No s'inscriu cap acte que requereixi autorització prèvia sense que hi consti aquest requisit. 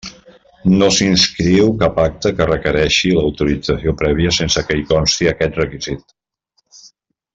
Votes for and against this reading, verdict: 0, 2, rejected